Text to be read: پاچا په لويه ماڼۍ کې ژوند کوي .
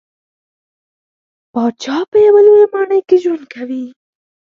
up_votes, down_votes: 0, 4